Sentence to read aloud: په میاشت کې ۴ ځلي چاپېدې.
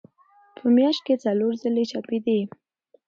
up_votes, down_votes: 0, 2